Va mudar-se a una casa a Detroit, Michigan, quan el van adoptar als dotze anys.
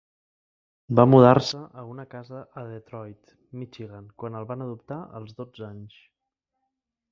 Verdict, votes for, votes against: accepted, 3, 0